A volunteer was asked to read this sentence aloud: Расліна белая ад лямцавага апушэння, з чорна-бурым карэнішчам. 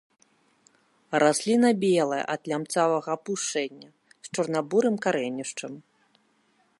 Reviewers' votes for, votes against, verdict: 0, 2, rejected